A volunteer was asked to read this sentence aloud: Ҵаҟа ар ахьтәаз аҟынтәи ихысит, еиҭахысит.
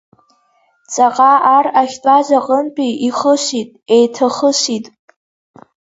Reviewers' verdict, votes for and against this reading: accepted, 2, 0